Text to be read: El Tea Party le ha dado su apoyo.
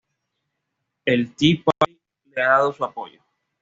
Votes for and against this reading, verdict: 2, 0, accepted